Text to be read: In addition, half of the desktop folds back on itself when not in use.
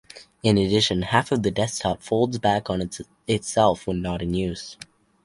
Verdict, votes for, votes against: rejected, 2, 2